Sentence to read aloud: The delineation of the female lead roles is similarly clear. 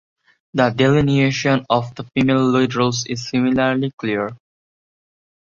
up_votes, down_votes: 2, 0